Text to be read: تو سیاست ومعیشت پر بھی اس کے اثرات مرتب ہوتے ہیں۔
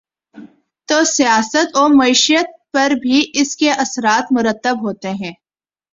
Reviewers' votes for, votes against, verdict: 2, 0, accepted